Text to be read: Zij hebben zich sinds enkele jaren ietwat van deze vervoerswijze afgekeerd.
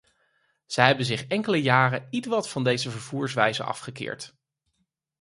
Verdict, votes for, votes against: rejected, 2, 4